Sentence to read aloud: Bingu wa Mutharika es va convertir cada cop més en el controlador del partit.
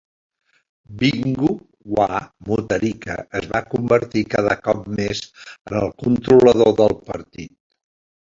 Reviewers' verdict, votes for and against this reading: accepted, 2, 1